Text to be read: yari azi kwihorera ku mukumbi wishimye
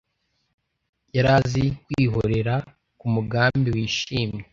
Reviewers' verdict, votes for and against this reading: rejected, 1, 2